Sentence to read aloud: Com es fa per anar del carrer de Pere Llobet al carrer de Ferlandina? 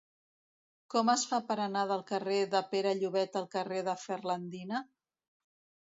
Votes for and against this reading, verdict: 2, 0, accepted